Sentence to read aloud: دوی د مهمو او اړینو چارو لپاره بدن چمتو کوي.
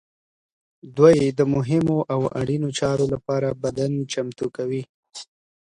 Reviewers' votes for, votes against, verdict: 2, 0, accepted